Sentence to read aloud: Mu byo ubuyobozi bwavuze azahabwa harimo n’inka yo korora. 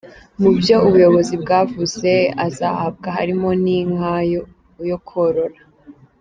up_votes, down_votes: 0, 2